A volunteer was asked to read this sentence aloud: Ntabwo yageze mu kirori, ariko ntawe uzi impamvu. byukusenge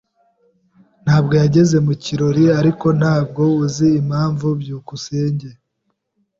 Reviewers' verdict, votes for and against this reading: rejected, 1, 2